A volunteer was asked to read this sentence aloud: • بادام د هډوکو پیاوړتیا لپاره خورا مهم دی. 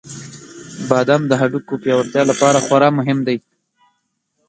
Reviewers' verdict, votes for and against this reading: rejected, 1, 2